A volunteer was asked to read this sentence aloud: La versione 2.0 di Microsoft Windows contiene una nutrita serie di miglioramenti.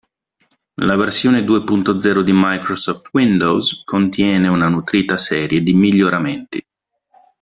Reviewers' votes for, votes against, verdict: 0, 2, rejected